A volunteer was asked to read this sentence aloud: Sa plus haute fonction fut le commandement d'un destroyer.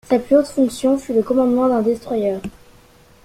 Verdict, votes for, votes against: accepted, 2, 0